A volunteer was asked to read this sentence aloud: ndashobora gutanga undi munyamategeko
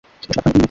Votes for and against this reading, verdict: 1, 2, rejected